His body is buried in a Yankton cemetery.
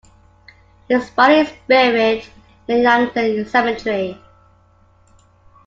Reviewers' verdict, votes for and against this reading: accepted, 2, 1